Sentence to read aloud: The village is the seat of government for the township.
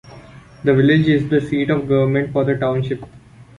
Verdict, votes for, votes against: rejected, 1, 2